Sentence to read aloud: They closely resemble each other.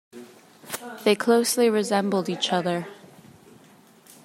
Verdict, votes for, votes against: rejected, 0, 2